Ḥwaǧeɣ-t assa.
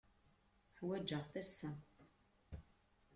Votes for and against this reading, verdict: 2, 1, accepted